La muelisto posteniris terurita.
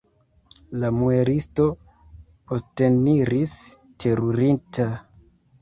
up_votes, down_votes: 0, 2